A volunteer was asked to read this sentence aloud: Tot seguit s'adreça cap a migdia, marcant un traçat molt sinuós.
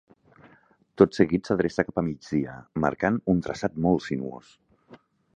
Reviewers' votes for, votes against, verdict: 3, 0, accepted